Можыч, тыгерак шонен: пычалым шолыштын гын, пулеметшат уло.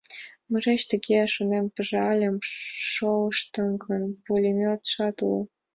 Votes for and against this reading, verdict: 0, 2, rejected